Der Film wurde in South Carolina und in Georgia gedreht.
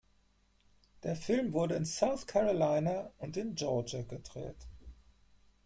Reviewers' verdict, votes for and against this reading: accepted, 4, 0